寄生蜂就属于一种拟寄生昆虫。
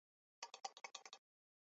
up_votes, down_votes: 1, 2